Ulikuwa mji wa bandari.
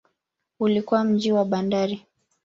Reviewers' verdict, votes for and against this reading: accepted, 12, 0